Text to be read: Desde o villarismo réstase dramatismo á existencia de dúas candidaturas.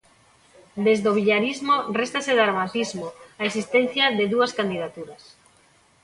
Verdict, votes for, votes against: accepted, 2, 0